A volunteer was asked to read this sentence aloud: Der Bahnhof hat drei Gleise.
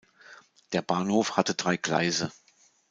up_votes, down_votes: 0, 2